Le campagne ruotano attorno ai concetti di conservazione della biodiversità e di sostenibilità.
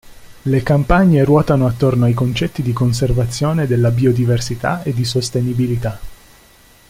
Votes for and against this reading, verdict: 2, 0, accepted